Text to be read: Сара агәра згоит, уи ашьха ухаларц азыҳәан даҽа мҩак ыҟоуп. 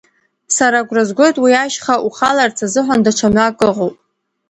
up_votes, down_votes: 2, 0